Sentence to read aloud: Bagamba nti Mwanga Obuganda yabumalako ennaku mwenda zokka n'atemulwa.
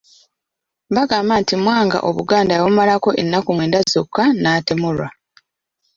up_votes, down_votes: 2, 0